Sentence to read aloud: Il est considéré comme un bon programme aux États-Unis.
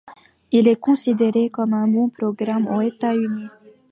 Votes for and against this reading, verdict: 1, 2, rejected